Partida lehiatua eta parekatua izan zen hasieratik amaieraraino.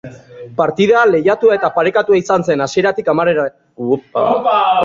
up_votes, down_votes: 0, 3